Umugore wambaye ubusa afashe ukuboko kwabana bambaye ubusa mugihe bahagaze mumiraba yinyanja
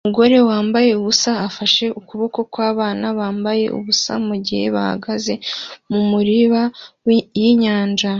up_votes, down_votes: 1, 2